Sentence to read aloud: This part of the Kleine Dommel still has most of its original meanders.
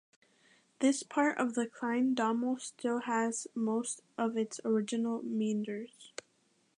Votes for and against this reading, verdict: 0, 2, rejected